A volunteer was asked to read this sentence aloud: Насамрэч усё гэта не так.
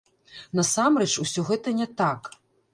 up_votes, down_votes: 1, 2